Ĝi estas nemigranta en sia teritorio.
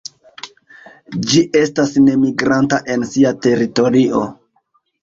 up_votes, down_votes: 2, 0